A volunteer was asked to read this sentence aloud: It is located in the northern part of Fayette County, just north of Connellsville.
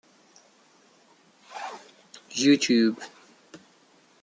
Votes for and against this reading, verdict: 0, 2, rejected